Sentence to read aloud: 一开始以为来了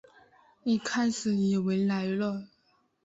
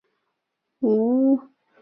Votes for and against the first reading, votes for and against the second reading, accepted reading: 2, 0, 0, 2, first